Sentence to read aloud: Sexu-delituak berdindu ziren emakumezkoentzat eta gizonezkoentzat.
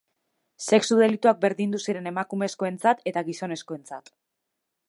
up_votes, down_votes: 3, 0